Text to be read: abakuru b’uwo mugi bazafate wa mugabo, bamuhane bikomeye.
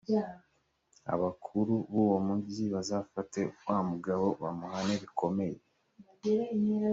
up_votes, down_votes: 2, 0